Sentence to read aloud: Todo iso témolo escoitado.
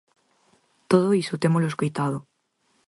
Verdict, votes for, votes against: accepted, 4, 0